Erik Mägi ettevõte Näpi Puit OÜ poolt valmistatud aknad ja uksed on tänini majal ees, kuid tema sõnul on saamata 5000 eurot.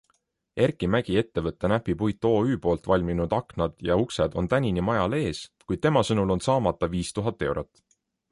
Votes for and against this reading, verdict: 0, 2, rejected